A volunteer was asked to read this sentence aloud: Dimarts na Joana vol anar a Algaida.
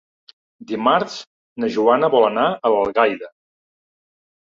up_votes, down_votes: 2, 3